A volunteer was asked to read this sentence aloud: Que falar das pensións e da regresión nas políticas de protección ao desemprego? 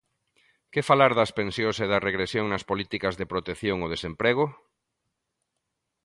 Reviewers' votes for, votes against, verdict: 2, 0, accepted